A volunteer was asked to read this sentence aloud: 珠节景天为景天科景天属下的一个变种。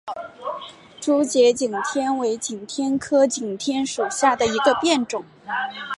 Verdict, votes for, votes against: accepted, 3, 0